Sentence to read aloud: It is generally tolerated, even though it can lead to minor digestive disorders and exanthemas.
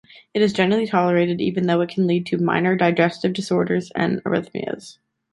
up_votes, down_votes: 0, 2